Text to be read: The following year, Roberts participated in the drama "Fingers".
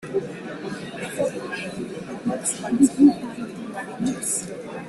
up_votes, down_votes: 0, 2